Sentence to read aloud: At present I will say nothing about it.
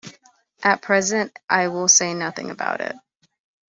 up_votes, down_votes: 2, 0